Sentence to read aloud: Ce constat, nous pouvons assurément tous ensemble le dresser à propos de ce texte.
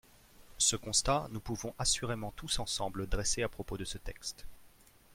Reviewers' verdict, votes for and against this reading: rejected, 1, 2